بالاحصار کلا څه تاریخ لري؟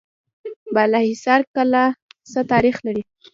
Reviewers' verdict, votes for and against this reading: accepted, 2, 0